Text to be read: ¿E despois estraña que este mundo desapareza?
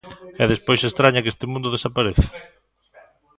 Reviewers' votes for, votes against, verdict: 1, 2, rejected